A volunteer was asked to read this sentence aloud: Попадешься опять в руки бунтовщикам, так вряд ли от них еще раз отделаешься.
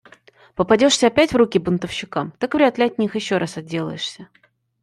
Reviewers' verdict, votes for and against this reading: accepted, 2, 1